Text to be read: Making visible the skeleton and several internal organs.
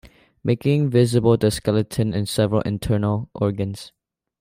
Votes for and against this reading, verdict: 2, 0, accepted